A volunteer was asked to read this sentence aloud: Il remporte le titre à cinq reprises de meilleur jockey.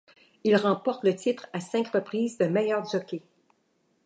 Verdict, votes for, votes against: accepted, 2, 0